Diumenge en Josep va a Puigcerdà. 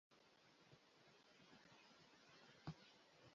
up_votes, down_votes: 1, 2